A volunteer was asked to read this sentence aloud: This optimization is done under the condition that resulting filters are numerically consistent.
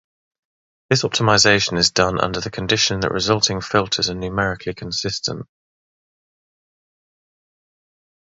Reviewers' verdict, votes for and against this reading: accepted, 6, 0